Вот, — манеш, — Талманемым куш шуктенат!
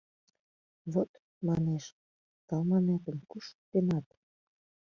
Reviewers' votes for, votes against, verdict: 0, 2, rejected